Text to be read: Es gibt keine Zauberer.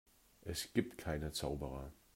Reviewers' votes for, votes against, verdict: 2, 0, accepted